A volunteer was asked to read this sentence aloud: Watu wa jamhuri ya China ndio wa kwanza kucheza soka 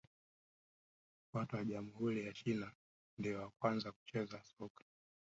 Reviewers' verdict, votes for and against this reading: rejected, 0, 3